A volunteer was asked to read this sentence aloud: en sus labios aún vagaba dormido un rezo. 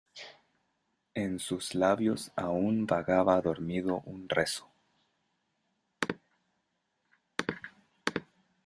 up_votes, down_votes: 2, 0